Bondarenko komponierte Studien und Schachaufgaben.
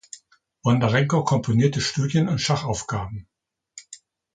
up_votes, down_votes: 2, 0